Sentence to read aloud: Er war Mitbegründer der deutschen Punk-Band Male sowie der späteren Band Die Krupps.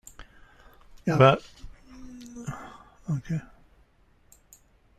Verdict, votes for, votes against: rejected, 0, 2